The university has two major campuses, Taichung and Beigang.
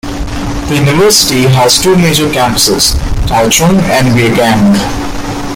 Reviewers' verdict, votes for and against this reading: accepted, 3, 2